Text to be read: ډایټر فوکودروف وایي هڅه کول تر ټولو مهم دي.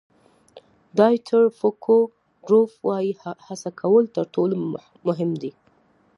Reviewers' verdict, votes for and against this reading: accepted, 2, 0